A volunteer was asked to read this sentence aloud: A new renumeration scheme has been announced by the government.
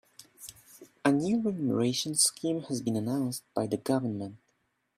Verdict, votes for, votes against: accepted, 2, 0